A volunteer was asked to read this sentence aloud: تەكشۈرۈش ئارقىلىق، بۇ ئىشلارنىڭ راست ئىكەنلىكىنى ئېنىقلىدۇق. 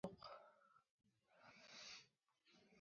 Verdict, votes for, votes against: rejected, 0, 2